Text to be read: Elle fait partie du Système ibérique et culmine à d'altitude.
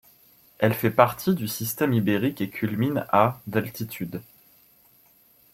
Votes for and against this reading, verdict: 2, 0, accepted